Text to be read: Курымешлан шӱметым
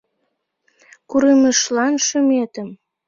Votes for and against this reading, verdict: 2, 0, accepted